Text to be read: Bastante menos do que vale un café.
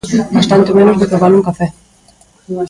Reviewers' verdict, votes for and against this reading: accepted, 2, 1